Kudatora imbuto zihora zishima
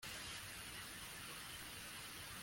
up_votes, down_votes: 0, 2